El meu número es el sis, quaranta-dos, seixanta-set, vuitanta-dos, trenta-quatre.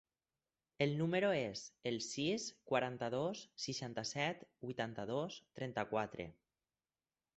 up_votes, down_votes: 0, 4